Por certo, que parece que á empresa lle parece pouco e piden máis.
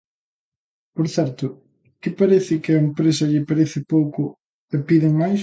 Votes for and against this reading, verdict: 2, 0, accepted